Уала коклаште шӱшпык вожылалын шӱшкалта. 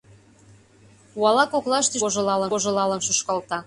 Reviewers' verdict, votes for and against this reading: rejected, 0, 2